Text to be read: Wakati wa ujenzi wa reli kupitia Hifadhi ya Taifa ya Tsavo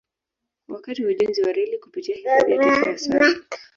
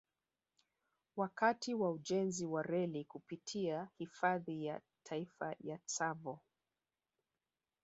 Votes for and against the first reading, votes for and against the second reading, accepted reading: 2, 3, 2, 0, second